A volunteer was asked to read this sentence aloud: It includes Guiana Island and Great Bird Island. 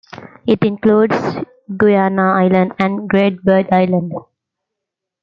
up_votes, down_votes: 2, 0